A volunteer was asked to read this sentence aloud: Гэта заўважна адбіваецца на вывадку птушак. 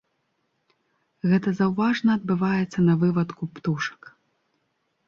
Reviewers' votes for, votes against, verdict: 1, 2, rejected